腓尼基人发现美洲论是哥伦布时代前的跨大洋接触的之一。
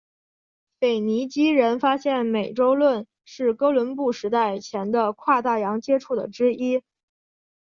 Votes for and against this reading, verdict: 3, 0, accepted